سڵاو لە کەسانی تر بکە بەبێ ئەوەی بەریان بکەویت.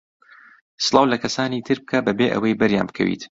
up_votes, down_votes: 2, 0